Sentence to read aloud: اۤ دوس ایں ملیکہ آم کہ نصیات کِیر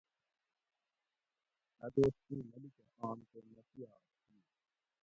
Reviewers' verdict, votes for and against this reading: rejected, 0, 2